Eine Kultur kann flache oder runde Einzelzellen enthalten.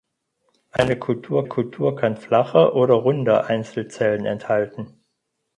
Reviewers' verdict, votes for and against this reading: rejected, 0, 4